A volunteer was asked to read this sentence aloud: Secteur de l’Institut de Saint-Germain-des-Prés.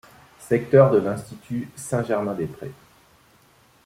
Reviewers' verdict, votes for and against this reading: rejected, 1, 2